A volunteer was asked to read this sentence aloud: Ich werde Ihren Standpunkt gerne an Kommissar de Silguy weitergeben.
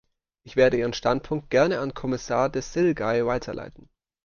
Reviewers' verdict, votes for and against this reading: rejected, 0, 2